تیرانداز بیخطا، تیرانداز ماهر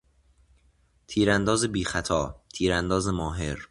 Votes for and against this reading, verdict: 2, 0, accepted